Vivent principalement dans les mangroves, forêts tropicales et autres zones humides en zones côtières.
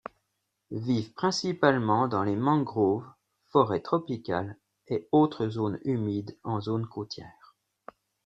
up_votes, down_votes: 2, 0